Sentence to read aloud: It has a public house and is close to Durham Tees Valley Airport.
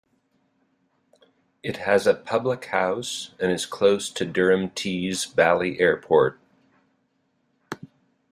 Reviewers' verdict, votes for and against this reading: accepted, 2, 0